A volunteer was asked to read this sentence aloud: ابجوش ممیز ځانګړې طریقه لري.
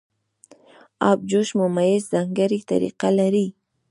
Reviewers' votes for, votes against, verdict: 1, 2, rejected